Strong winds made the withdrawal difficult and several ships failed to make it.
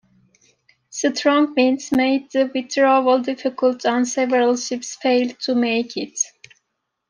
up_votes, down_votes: 2, 1